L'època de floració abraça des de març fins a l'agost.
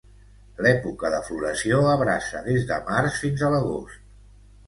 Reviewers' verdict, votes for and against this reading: accepted, 2, 0